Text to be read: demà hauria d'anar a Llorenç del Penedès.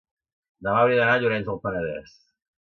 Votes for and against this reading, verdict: 1, 2, rejected